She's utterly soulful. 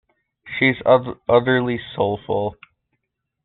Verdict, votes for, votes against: rejected, 1, 2